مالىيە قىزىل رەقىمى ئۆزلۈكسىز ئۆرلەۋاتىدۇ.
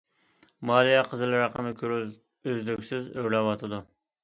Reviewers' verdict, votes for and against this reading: rejected, 0, 2